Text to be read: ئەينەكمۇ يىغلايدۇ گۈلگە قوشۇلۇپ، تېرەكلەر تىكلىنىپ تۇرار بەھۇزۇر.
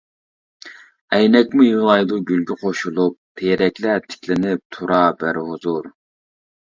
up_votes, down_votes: 1, 2